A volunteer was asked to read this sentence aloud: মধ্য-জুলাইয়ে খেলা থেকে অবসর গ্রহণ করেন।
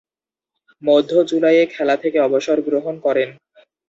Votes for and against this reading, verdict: 0, 2, rejected